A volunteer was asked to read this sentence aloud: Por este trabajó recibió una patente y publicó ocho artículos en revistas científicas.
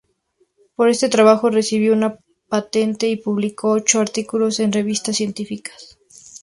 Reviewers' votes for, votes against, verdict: 2, 0, accepted